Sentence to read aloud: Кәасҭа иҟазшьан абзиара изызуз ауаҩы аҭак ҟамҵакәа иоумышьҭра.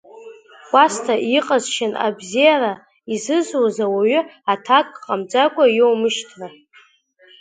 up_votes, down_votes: 1, 2